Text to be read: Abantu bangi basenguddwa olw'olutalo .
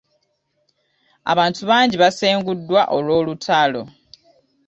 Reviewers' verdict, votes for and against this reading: accepted, 2, 0